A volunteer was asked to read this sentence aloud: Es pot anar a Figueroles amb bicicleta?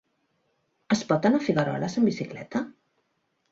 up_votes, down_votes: 2, 0